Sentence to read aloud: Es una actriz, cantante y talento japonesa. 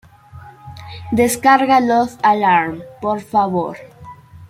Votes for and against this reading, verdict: 0, 2, rejected